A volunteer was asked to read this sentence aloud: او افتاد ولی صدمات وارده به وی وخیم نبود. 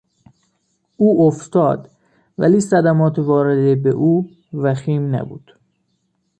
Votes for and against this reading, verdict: 0, 2, rejected